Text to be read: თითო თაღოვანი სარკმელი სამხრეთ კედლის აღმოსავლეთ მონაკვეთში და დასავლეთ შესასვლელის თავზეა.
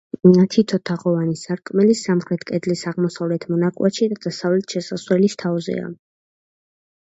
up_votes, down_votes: 2, 0